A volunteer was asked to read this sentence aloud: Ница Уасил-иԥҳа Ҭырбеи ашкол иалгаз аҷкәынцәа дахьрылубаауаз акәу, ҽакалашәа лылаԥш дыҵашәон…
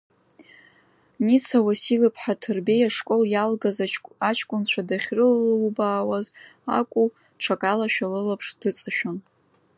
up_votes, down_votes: 0, 2